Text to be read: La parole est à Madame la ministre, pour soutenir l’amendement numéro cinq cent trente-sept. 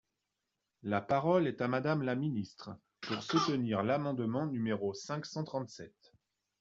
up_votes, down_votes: 2, 0